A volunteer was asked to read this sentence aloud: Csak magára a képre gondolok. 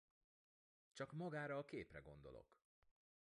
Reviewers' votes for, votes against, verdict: 2, 0, accepted